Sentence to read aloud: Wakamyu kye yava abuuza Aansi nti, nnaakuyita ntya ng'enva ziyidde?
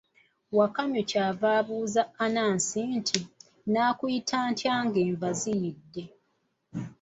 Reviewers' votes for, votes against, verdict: 0, 2, rejected